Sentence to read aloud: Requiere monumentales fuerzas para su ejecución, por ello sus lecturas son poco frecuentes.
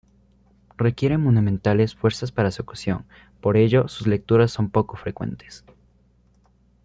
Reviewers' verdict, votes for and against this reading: rejected, 1, 2